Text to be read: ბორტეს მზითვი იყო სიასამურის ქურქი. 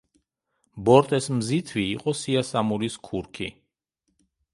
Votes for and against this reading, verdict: 2, 0, accepted